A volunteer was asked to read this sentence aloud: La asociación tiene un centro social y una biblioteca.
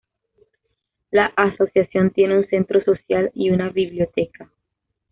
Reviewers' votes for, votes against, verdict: 2, 1, accepted